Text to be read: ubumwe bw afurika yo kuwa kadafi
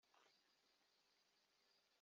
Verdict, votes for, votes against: rejected, 0, 2